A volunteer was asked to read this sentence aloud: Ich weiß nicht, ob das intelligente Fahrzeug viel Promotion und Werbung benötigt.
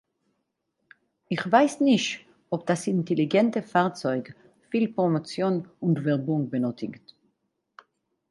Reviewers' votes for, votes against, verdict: 2, 4, rejected